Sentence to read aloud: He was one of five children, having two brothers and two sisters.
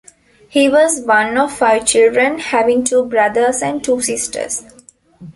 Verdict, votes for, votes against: accepted, 2, 0